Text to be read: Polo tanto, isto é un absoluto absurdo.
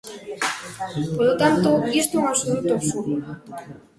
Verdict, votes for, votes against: accepted, 2, 1